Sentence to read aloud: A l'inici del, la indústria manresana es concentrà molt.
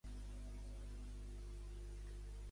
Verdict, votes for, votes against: rejected, 0, 2